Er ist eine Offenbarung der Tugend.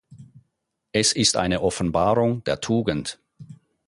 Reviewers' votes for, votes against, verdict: 2, 4, rejected